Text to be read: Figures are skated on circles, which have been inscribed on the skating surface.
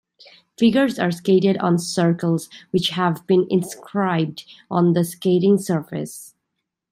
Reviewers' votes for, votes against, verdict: 2, 0, accepted